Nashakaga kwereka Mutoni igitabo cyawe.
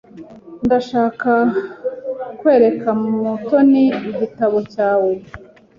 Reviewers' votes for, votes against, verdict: 1, 2, rejected